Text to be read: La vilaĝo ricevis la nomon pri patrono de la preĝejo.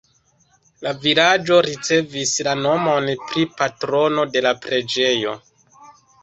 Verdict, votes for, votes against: accepted, 2, 0